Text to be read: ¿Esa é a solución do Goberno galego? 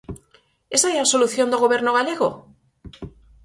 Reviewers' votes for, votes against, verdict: 4, 0, accepted